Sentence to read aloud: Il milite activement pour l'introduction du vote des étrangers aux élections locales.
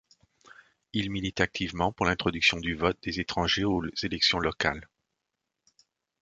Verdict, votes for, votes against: rejected, 1, 2